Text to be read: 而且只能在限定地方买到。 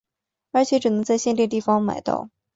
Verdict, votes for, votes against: accepted, 6, 0